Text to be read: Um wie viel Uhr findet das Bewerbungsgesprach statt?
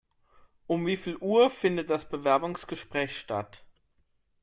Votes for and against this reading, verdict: 2, 0, accepted